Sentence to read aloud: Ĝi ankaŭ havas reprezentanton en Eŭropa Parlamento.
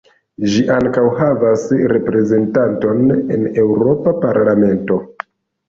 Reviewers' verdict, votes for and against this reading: accepted, 2, 1